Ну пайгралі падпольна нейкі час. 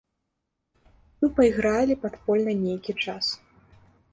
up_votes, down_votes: 2, 0